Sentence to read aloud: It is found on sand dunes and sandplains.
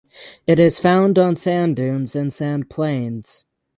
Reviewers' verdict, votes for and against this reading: accepted, 3, 0